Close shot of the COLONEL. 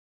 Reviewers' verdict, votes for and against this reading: rejected, 0, 3